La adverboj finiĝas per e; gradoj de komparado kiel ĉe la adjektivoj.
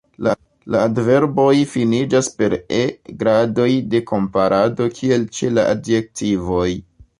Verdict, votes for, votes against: rejected, 1, 2